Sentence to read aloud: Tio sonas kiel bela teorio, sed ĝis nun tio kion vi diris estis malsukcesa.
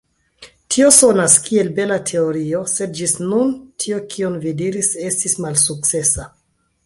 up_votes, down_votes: 2, 0